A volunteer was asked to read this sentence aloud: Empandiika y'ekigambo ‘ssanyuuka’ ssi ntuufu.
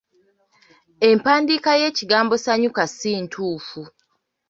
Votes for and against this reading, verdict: 2, 0, accepted